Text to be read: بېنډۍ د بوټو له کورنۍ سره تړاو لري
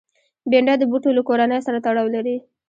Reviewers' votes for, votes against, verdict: 2, 0, accepted